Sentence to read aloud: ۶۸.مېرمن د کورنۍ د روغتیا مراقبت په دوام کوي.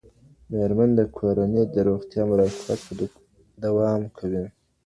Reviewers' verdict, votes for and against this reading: rejected, 0, 2